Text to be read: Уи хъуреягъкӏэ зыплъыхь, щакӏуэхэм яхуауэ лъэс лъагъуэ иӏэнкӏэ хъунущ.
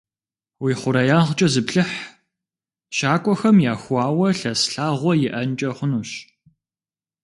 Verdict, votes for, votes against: accepted, 2, 0